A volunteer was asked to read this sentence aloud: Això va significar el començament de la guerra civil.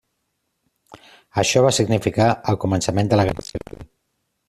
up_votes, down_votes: 1, 2